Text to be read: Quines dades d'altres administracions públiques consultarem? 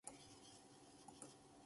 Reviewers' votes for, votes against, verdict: 0, 2, rejected